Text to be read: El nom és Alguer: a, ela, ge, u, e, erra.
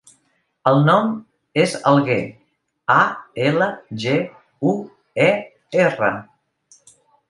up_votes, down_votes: 2, 0